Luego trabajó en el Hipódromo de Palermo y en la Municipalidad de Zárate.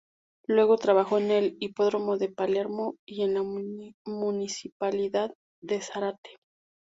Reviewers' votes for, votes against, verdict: 0, 2, rejected